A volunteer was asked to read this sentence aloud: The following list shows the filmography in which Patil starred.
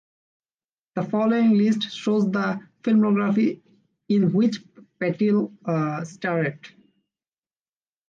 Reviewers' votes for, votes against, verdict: 1, 2, rejected